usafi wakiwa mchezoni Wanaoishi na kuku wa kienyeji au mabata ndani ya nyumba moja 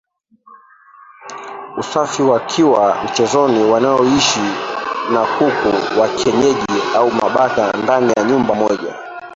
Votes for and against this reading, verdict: 1, 3, rejected